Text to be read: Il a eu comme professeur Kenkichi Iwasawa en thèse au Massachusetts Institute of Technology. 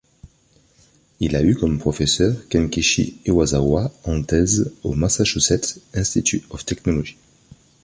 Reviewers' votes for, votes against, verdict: 2, 0, accepted